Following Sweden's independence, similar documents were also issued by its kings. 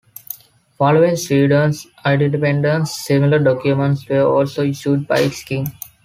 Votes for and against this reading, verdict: 0, 2, rejected